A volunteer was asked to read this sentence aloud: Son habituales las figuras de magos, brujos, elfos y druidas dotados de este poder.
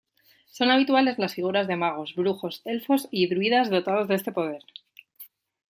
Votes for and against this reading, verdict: 2, 0, accepted